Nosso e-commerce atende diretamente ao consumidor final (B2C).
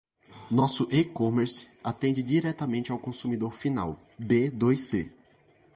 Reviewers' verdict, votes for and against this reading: rejected, 0, 2